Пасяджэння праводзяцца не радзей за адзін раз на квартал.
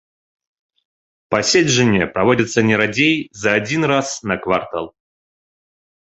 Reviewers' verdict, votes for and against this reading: accepted, 2, 1